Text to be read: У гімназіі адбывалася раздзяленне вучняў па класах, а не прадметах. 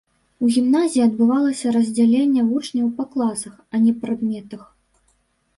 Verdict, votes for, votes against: accepted, 2, 0